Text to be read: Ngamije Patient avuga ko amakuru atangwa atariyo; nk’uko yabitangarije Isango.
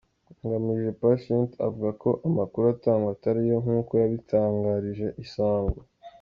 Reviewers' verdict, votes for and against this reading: accepted, 2, 0